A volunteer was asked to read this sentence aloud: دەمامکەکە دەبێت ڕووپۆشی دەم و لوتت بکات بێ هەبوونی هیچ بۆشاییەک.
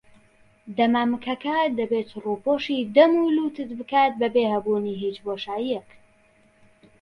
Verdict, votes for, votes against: rejected, 0, 2